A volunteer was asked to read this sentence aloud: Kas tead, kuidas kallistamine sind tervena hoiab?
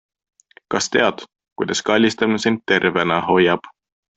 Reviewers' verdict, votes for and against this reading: accepted, 2, 1